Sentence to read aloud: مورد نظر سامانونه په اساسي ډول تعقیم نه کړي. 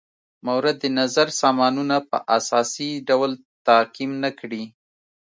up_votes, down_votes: 2, 0